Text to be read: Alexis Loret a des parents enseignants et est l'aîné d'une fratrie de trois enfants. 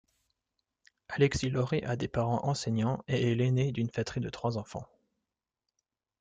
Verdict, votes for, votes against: rejected, 1, 2